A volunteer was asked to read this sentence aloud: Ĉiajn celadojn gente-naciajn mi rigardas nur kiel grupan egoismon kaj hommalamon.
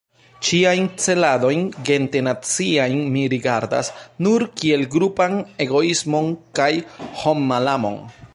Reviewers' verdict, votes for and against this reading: rejected, 1, 2